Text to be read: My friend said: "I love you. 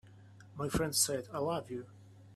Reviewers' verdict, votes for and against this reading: accepted, 2, 1